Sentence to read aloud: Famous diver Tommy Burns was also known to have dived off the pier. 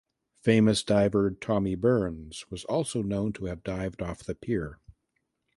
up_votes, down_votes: 2, 1